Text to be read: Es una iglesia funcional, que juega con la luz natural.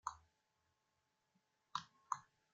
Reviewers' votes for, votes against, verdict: 0, 2, rejected